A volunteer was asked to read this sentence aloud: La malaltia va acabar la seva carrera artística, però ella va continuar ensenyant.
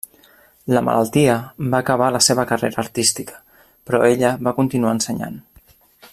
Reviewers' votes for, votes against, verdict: 3, 0, accepted